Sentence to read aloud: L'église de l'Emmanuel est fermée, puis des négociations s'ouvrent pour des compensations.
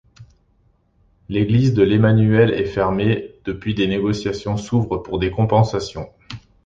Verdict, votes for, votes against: rejected, 0, 2